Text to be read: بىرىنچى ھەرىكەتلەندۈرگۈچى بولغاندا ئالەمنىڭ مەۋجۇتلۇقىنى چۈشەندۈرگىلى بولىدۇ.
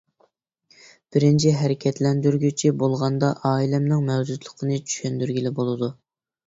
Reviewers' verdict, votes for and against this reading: rejected, 1, 2